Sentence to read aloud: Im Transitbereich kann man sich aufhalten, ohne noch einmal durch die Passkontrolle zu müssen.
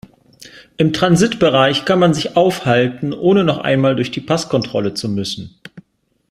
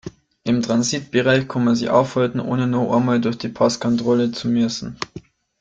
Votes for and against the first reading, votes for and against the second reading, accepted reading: 3, 0, 1, 2, first